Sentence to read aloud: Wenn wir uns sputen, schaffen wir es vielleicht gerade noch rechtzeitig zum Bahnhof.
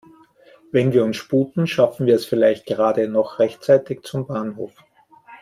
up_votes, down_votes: 2, 0